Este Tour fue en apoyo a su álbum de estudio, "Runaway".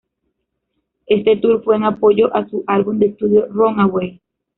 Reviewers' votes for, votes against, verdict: 1, 2, rejected